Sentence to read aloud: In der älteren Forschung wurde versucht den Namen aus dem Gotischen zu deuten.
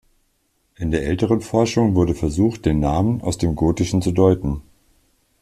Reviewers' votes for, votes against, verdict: 2, 0, accepted